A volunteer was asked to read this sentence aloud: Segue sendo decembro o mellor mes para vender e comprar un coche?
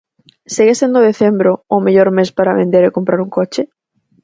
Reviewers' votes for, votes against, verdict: 4, 0, accepted